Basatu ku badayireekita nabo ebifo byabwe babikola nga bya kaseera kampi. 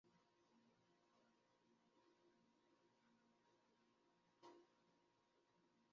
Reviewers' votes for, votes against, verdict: 0, 2, rejected